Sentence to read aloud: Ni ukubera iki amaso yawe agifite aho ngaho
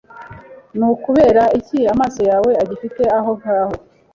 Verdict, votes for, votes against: accepted, 2, 1